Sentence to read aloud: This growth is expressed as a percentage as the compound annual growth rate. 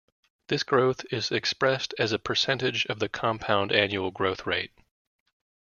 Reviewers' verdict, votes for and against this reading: rejected, 0, 2